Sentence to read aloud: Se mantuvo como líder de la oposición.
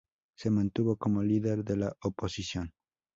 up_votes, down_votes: 2, 0